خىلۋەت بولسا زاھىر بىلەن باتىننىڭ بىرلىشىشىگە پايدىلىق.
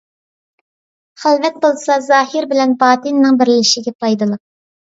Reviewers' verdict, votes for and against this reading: accepted, 2, 0